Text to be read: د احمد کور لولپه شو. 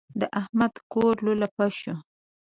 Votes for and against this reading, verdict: 2, 0, accepted